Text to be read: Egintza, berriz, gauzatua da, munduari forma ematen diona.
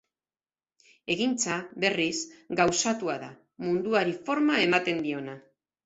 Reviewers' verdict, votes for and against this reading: accepted, 4, 0